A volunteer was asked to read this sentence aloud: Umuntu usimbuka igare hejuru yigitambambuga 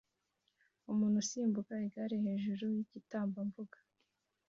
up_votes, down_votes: 2, 0